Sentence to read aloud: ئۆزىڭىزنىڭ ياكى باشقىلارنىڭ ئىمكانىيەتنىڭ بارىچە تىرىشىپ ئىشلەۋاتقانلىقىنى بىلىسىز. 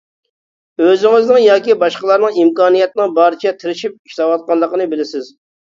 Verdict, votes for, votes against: accepted, 2, 0